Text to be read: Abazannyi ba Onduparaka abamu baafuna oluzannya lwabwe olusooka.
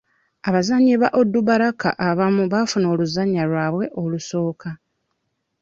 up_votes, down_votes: 2, 1